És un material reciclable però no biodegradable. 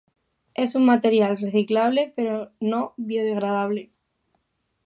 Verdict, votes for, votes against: accepted, 2, 0